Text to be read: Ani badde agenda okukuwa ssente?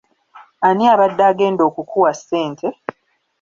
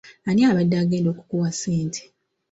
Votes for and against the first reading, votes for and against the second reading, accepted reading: 1, 2, 2, 1, second